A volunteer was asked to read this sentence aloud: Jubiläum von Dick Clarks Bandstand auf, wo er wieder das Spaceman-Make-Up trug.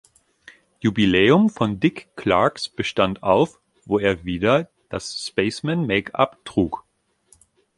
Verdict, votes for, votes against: rejected, 0, 3